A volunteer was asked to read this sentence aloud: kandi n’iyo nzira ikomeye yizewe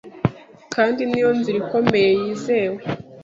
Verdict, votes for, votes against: accepted, 2, 0